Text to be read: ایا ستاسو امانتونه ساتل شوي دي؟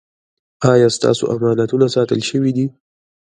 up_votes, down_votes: 0, 2